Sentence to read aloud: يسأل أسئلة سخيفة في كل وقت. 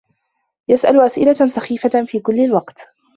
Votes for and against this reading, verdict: 1, 2, rejected